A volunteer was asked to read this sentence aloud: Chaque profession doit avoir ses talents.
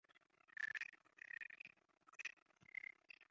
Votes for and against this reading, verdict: 1, 3, rejected